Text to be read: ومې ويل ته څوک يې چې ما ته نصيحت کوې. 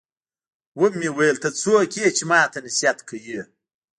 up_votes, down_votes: 1, 2